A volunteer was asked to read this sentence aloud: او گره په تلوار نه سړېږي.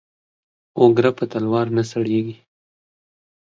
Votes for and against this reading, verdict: 2, 0, accepted